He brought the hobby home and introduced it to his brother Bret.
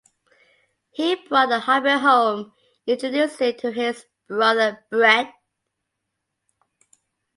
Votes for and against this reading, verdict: 2, 0, accepted